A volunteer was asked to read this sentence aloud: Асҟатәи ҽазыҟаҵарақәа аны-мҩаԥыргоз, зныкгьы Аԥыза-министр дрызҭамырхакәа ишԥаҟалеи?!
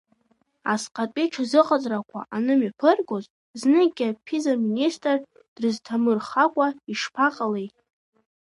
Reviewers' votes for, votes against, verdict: 0, 2, rejected